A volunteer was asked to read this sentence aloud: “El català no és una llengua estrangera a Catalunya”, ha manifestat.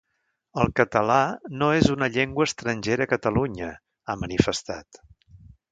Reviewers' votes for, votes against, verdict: 1, 2, rejected